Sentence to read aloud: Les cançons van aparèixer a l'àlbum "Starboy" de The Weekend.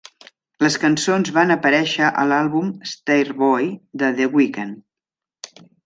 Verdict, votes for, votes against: accepted, 2, 0